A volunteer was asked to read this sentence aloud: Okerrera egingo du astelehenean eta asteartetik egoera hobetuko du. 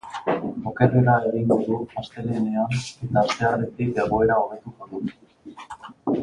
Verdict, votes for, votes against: rejected, 0, 4